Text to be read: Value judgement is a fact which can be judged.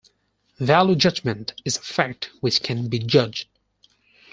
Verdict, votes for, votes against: accepted, 4, 2